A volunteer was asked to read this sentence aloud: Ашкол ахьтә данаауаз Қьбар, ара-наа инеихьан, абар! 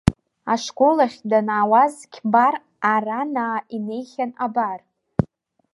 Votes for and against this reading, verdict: 1, 2, rejected